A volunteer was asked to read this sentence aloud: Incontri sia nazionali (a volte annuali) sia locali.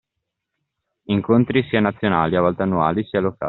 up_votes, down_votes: 2, 0